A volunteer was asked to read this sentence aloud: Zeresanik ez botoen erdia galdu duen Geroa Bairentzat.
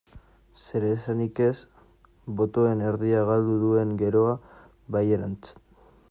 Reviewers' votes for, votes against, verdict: 0, 2, rejected